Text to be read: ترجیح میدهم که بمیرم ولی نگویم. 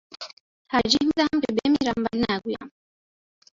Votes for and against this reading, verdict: 0, 2, rejected